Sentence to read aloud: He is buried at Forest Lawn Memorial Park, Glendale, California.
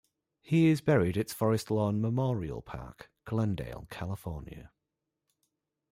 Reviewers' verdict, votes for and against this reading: accepted, 2, 1